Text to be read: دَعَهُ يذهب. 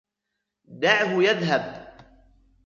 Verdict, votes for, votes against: accepted, 2, 0